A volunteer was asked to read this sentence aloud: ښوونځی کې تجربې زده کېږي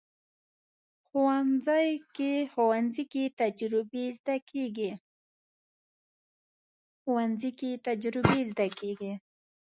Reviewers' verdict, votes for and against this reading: rejected, 1, 2